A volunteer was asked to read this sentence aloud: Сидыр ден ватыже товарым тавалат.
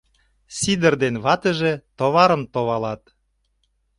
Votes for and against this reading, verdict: 0, 2, rejected